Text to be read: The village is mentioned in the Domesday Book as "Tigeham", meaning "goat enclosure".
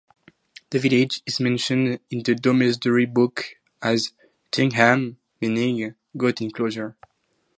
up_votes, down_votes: 2, 2